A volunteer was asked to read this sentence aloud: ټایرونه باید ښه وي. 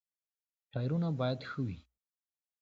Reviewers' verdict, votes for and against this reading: accepted, 2, 0